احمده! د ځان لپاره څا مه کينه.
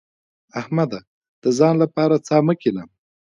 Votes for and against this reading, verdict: 2, 1, accepted